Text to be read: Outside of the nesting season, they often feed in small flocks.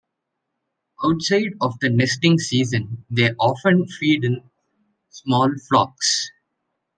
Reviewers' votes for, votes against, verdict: 2, 0, accepted